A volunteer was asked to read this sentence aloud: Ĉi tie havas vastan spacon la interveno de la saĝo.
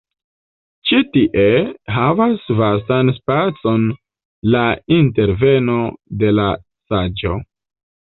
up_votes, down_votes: 1, 2